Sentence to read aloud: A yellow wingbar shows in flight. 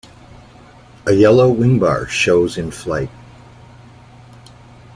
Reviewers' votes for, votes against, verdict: 2, 0, accepted